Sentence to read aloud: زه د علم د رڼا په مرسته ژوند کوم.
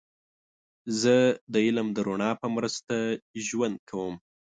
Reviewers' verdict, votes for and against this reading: accepted, 2, 0